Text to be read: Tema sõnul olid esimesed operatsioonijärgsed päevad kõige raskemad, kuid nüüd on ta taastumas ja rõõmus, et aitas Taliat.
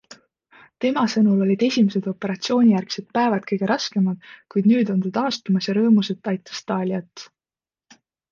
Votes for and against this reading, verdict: 2, 0, accepted